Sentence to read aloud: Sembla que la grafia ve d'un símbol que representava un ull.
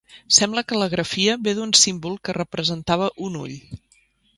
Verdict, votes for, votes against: accepted, 3, 1